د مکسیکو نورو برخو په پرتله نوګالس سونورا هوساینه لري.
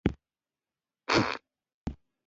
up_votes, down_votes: 0, 2